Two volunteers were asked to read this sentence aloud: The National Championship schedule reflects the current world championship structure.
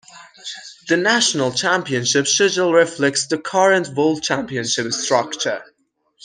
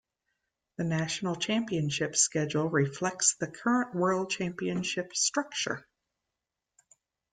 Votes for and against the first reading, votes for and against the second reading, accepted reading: 1, 2, 2, 0, second